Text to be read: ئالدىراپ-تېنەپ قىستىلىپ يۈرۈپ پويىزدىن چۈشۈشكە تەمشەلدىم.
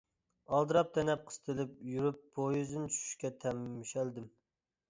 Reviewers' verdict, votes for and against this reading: rejected, 1, 2